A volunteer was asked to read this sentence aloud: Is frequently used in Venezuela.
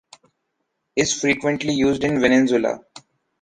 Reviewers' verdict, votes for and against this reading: rejected, 1, 2